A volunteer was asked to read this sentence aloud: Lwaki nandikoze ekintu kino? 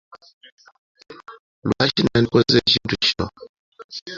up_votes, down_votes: 1, 2